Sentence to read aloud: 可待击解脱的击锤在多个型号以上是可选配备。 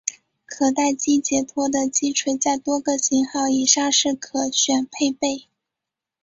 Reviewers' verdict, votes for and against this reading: accepted, 6, 0